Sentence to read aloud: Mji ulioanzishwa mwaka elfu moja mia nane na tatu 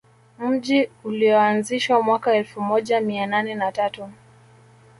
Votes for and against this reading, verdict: 2, 0, accepted